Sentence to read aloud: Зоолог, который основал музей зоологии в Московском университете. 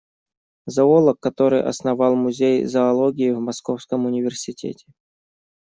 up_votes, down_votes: 2, 0